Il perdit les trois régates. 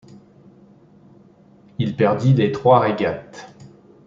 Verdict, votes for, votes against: accepted, 2, 0